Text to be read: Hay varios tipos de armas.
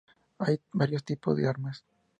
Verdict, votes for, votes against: accepted, 2, 0